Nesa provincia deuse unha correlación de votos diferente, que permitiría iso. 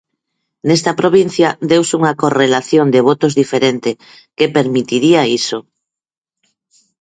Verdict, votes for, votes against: rejected, 0, 4